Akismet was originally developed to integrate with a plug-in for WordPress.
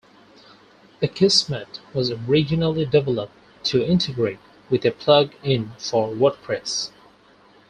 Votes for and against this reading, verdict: 4, 0, accepted